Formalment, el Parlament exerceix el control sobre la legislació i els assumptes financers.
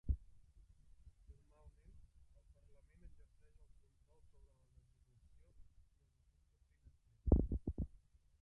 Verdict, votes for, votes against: rejected, 0, 3